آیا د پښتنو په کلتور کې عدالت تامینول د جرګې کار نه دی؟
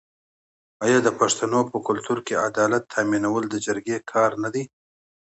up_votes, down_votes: 2, 0